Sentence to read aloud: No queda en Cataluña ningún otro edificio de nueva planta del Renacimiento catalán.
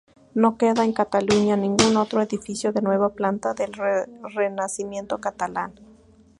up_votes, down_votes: 0, 2